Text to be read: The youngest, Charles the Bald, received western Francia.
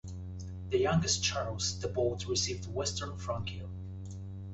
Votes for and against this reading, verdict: 2, 0, accepted